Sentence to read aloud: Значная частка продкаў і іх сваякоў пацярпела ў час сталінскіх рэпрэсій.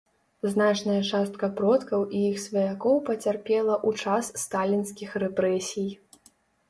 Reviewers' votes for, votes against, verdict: 2, 0, accepted